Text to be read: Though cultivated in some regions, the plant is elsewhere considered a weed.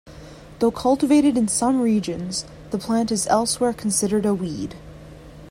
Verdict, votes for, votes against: accepted, 2, 0